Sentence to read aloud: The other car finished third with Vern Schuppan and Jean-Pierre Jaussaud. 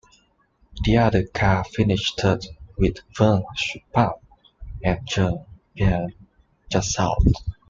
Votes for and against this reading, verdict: 2, 1, accepted